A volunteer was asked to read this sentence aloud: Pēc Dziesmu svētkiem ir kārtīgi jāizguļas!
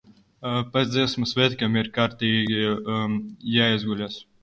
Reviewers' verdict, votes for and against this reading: rejected, 0, 2